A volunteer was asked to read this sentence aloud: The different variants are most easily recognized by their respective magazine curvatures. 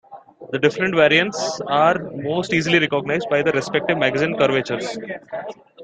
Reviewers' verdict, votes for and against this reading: accepted, 2, 0